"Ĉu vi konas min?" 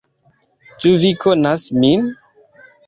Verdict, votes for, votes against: accepted, 2, 0